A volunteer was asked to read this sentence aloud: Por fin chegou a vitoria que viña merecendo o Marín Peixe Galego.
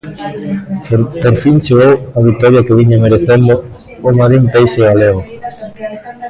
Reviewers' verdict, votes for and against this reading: rejected, 0, 2